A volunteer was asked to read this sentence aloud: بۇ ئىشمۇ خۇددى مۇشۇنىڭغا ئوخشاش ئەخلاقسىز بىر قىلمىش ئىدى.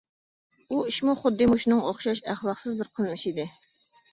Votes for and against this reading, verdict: 2, 0, accepted